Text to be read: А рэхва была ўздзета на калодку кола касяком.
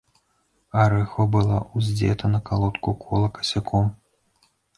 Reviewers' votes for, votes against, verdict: 2, 3, rejected